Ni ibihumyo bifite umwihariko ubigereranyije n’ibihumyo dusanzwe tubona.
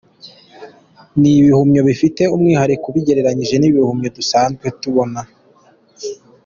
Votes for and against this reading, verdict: 2, 0, accepted